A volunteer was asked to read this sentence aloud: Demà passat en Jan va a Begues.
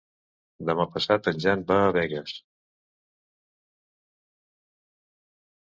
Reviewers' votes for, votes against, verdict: 2, 0, accepted